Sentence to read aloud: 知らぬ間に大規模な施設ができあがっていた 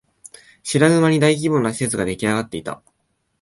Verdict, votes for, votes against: accepted, 2, 0